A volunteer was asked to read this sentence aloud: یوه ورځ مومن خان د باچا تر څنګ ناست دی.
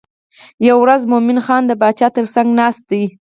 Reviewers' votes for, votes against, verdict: 0, 4, rejected